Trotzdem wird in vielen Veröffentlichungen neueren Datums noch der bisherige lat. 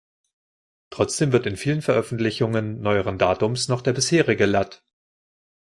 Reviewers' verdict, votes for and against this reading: rejected, 1, 2